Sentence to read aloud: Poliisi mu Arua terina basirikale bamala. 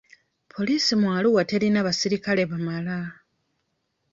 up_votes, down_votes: 2, 0